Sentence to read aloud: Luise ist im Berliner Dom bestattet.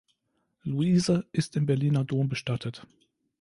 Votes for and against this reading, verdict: 2, 0, accepted